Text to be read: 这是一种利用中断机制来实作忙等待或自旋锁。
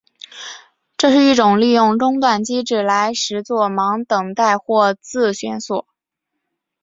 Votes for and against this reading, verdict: 2, 0, accepted